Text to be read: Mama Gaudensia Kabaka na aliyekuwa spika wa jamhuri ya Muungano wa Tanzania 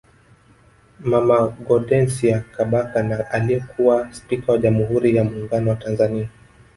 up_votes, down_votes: 1, 2